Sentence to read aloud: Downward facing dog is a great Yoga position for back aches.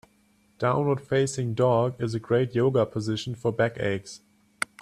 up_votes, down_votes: 4, 0